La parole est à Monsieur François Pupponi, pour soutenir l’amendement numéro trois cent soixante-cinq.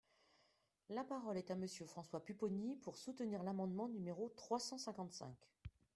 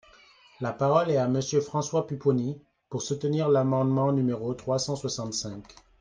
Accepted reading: second